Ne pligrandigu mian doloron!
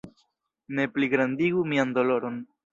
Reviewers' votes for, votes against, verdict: 1, 2, rejected